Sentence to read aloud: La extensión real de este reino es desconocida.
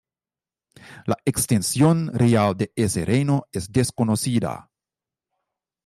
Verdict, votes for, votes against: rejected, 1, 2